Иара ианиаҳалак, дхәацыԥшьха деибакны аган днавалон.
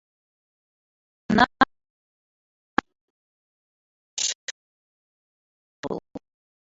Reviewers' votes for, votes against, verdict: 0, 2, rejected